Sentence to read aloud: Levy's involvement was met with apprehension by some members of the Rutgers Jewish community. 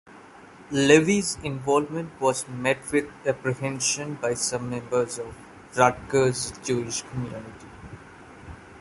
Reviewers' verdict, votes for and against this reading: rejected, 0, 2